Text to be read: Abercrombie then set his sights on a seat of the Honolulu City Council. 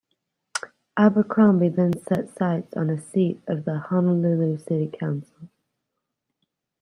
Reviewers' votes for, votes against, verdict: 1, 2, rejected